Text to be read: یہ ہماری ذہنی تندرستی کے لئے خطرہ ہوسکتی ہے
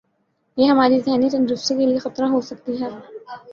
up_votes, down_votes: 3, 0